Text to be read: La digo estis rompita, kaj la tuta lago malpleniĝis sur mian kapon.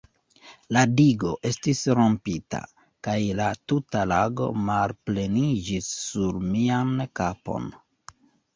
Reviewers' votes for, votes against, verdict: 1, 2, rejected